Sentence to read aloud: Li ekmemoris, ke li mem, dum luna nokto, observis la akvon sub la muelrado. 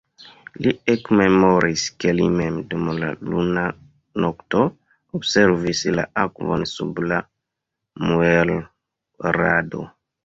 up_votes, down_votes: 2, 0